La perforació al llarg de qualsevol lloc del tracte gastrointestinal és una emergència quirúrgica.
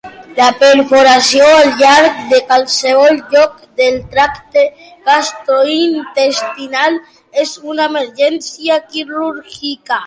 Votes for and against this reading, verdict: 1, 2, rejected